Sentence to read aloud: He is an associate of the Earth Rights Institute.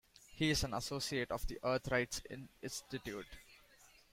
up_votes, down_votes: 1, 2